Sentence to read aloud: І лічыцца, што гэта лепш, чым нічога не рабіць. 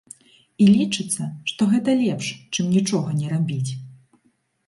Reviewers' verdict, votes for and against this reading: accepted, 2, 0